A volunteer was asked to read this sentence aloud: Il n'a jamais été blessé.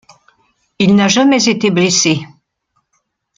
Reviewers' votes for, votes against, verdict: 2, 0, accepted